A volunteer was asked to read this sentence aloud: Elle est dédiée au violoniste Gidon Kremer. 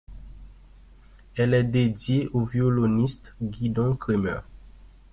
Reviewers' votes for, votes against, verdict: 2, 0, accepted